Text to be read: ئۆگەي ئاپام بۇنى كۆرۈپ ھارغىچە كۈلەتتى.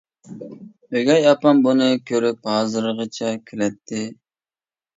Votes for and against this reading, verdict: 1, 2, rejected